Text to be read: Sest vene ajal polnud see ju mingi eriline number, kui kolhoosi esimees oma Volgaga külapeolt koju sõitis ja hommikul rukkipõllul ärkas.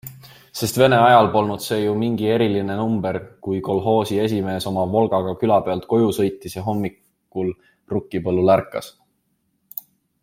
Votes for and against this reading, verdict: 2, 0, accepted